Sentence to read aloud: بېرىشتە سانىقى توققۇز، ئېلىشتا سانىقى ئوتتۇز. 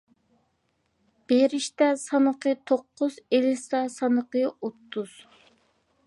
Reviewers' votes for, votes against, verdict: 2, 0, accepted